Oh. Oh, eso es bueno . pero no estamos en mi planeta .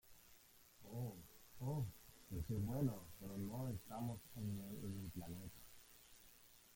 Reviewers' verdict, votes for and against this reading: rejected, 0, 2